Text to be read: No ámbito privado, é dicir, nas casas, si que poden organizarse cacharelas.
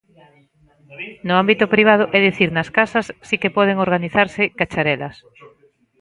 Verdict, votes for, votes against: accepted, 2, 1